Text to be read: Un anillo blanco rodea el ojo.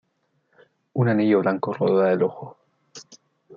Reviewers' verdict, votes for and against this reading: accepted, 2, 0